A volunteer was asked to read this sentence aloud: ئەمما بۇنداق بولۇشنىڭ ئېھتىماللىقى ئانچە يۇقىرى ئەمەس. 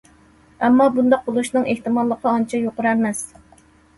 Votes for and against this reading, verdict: 2, 0, accepted